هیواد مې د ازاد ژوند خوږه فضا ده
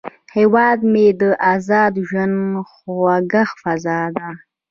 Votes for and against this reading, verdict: 2, 1, accepted